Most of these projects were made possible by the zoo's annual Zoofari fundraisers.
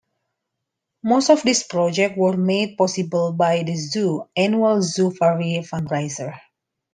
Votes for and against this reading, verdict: 0, 2, rejected